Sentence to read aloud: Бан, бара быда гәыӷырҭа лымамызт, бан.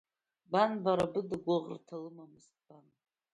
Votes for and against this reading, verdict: 0, 2, rejected